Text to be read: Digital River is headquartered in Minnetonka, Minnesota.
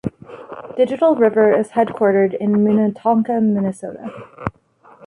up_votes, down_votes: 2, 0